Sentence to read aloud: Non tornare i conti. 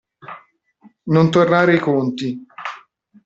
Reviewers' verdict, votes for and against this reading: accepted, 2, 0